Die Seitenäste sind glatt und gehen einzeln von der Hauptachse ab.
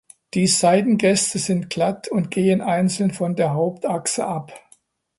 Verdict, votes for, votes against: rejected, 1, 2